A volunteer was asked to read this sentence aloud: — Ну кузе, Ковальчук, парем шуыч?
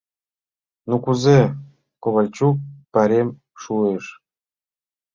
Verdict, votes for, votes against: rejected, 1, 2